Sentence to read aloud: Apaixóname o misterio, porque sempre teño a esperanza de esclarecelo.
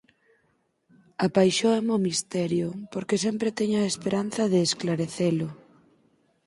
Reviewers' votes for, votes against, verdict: 0, 4, rejected